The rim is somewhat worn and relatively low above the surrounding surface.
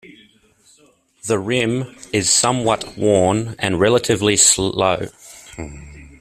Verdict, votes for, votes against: rejected, 0, 2